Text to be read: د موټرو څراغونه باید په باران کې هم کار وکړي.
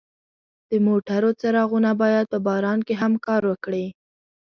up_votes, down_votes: 2, 0